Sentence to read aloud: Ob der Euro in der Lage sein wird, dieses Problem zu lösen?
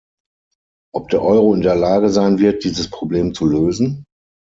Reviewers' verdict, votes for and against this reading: accepted, 6, 0